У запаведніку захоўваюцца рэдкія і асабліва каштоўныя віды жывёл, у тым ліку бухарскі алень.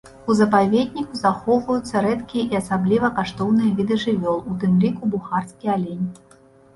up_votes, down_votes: 2, 0